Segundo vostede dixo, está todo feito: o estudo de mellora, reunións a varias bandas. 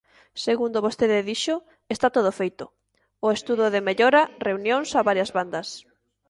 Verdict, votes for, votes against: accepted, 2, 0